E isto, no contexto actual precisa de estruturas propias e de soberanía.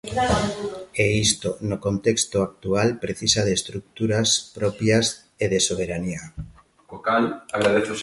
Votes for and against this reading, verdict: 0, 2, rejected